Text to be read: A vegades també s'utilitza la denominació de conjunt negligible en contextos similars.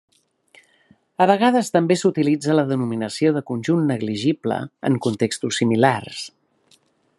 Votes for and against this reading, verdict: 3, 0, accepted